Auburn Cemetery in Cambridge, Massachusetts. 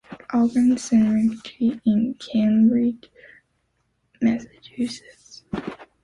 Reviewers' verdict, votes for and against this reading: rejected, 0, 2